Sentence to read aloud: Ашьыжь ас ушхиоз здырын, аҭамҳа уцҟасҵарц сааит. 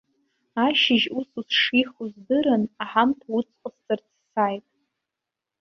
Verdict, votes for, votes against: rejected, 0, 2